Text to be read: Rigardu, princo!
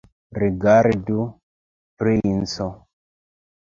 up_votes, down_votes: 1, 2